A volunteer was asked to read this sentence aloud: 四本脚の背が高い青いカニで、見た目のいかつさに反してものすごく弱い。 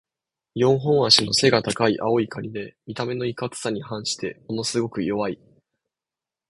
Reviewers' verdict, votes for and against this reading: accepted, 2, 0